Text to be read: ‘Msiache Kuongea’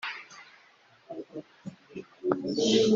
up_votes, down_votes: 0, 3